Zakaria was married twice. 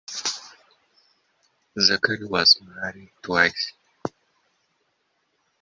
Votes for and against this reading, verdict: 0, 2, rejected